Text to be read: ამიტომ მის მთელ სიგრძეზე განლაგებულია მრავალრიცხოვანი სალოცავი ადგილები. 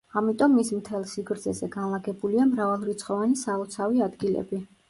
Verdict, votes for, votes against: accepted, 2, 0